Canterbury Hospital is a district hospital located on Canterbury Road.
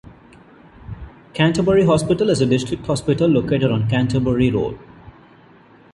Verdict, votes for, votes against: accepted, 2, 0